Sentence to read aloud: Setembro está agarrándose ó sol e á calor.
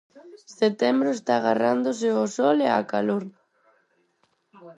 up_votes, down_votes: 2, 4